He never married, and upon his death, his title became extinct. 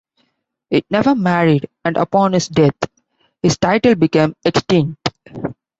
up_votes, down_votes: 2, 0